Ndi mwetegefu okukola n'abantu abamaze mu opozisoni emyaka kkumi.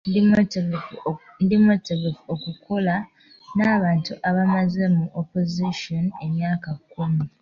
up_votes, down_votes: 1, 2